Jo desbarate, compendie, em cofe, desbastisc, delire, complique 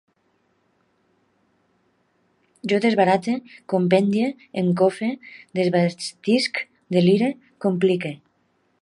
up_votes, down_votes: 0, 2